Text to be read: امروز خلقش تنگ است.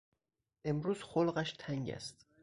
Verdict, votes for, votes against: accepted, 4, 0